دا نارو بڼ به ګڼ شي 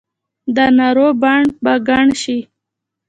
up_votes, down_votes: 2, 1